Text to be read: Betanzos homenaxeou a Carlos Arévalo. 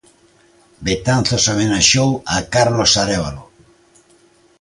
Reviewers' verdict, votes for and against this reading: accepted, 2, 0